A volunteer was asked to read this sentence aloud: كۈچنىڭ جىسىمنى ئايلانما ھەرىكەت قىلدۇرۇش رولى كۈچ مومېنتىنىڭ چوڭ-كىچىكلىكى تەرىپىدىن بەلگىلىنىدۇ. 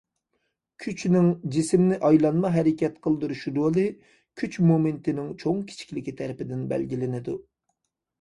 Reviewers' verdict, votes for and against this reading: accepted, 2, 1